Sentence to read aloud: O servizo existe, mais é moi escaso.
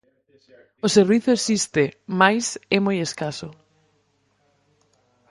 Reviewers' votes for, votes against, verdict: 2, 2, rejected